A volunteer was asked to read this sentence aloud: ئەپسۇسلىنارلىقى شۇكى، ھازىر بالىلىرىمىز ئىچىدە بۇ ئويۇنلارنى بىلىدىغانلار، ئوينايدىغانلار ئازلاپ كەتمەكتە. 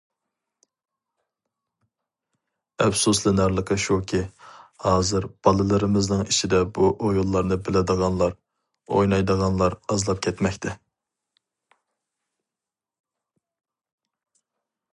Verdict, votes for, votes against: rejected, 0, 2